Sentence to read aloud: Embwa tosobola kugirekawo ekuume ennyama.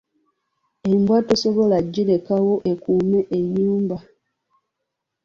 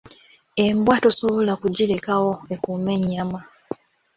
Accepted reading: second